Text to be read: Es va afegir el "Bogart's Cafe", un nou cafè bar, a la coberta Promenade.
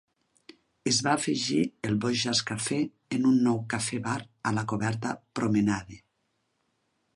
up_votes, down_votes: 0, 2